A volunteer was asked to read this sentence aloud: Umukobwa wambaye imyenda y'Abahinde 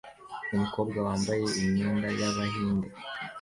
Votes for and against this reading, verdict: 2, 0, accepted